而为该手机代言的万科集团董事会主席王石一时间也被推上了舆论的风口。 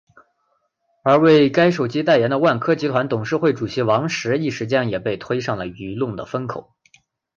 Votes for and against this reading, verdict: 5, 1, accepted